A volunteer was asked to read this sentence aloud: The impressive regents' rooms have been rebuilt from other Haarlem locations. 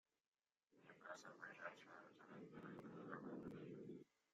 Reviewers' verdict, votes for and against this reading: rejected, 0, 2